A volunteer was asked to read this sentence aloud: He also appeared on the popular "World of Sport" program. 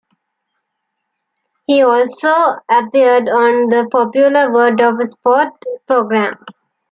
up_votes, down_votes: 2, 1